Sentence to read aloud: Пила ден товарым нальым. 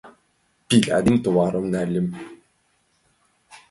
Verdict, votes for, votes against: rejected, 0, 2